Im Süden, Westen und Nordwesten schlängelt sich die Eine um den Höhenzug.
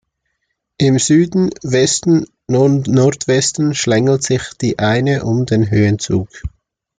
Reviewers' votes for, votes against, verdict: 2, 1, accepted